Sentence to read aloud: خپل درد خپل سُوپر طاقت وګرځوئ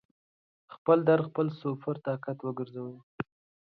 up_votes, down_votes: 2, 0